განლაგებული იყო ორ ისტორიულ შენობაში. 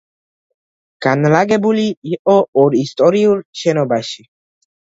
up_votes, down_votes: 2, 0